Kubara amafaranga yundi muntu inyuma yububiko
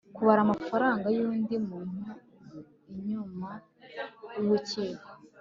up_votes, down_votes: 1, 2